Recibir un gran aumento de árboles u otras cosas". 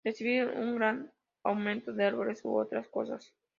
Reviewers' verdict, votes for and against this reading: accepted, 2, 0